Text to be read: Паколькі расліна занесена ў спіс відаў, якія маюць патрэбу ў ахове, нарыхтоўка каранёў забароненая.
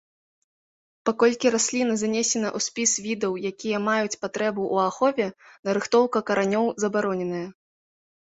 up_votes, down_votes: 2, 0